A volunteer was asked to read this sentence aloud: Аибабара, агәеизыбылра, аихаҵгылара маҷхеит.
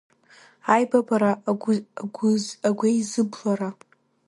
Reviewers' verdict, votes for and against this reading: rejected, 0, 2